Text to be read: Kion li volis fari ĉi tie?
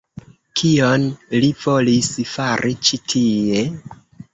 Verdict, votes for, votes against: accepted, 2, 1